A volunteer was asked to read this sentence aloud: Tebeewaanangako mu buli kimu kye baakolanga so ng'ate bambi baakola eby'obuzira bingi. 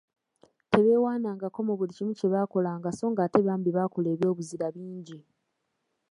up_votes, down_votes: 2, 0